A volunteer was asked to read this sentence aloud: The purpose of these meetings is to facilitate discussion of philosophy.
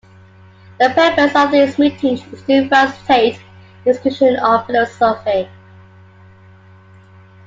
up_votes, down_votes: 0, 2